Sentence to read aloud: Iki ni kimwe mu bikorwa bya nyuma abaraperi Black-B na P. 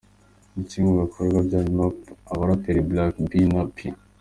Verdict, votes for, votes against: accepted, 2, 0